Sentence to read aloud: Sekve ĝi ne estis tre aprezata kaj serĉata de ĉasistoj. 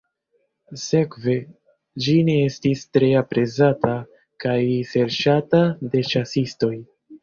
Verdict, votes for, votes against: rejected, 1, 2